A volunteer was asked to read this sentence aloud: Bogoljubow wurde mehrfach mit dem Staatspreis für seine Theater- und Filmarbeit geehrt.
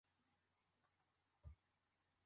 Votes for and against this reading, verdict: 0, 2, rejected